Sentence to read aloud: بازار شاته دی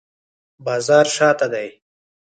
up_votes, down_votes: 4, 0